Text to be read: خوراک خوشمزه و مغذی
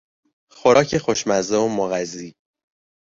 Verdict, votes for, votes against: accepted, 2, 0